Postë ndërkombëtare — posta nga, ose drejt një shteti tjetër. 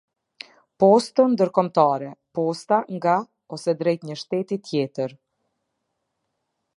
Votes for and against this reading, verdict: 3, 0, accepted